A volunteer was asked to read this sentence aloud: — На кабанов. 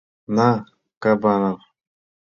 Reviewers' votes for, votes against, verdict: 2, 0, accepted